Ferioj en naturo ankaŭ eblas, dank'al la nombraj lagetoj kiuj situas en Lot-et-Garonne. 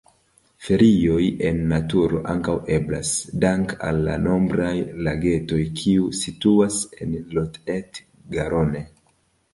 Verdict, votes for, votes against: accepted, 2, 0